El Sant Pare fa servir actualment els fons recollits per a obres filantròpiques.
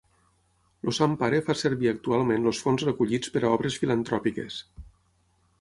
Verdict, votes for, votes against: rejected, 3, 9